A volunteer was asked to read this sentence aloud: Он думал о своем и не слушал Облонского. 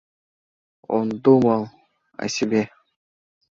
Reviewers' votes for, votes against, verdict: 0, 2, rejected